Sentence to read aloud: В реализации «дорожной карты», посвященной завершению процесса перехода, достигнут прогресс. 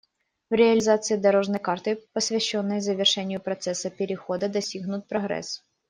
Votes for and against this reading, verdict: 2, 0, accepted